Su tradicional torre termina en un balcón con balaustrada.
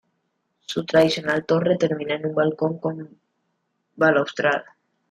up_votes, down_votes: 2, 1